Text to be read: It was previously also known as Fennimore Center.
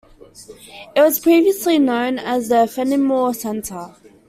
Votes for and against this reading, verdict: 2, 1, accepted